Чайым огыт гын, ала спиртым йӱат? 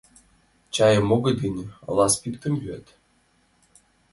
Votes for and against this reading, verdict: 2, 0, accepted